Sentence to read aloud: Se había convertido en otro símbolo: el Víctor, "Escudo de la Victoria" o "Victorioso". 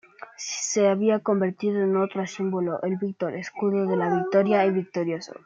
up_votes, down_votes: 1, 2